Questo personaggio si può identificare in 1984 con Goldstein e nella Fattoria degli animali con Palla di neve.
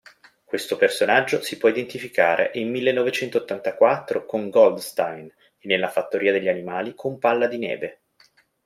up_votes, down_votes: 0, 2